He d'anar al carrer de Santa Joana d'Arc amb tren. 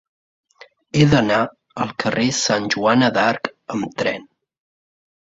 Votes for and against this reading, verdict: 0, 2, rejected